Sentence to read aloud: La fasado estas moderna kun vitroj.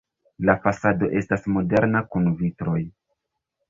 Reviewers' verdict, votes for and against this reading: rejected, 0, 2